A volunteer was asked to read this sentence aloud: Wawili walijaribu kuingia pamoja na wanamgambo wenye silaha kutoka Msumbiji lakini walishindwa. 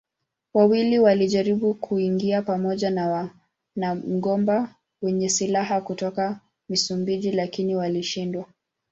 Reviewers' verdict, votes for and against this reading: rejected, 2, 3